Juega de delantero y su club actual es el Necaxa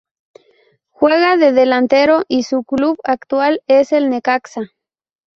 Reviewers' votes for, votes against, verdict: 2, 0, accepted